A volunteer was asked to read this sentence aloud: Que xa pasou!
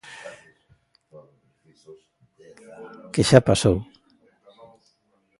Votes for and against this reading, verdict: 1, 2, rejected